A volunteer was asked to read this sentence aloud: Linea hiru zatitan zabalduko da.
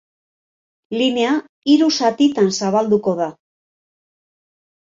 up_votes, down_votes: 2, 0